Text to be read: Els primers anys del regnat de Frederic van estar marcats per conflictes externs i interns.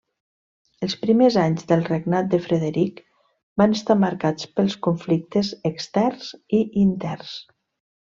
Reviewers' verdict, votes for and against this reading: rejected, 1, 2